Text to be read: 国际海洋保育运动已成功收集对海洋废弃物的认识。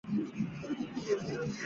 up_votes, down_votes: 1, 2